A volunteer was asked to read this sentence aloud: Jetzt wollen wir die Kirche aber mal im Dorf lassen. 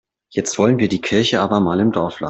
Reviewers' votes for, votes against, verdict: 0, 2, rejected